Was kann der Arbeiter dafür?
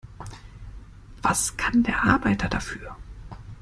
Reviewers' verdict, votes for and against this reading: rejected, 1, 2